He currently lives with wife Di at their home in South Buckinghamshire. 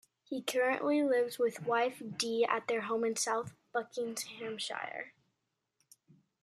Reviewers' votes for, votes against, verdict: 1, 2, rejected